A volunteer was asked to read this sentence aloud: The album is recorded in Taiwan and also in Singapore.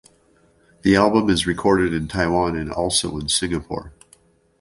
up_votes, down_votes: 2, 0